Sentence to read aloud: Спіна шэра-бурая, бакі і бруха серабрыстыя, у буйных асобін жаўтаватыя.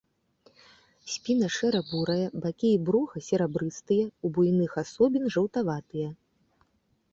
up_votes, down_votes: 2, 0